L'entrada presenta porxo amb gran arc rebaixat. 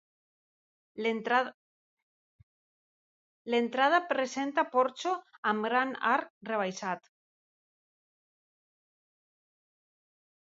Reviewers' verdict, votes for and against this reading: rejected, 1, 3